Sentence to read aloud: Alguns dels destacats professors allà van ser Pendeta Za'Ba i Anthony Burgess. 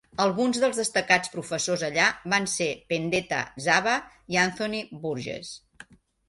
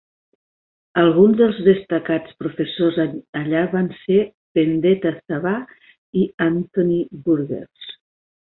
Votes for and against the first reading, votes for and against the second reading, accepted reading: 3, 0, 1, 2, first